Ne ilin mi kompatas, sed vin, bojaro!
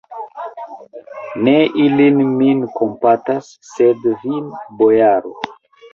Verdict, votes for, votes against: rejected, 0, 2